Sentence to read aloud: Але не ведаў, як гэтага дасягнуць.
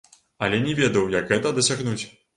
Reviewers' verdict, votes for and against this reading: rejected, 0, 2